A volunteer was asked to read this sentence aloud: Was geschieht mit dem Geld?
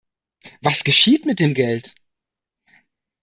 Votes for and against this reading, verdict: 2, 0, accepted